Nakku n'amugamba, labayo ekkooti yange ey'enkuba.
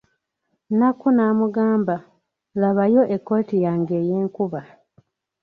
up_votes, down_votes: 2, 0